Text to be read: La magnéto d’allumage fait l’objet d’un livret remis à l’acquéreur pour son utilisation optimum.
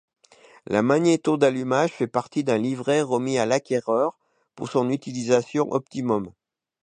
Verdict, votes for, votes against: rejected, 1, 2